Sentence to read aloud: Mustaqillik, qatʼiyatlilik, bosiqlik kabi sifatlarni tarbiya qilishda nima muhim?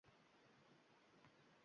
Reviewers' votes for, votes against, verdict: 0, 2, rejected